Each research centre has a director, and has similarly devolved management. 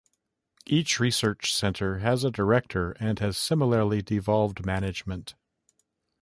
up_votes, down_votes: 2, 0